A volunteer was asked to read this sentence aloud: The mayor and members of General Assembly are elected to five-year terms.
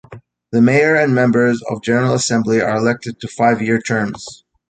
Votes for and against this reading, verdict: 2, 0, accepted